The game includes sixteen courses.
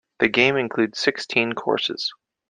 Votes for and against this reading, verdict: 2, 0, accepted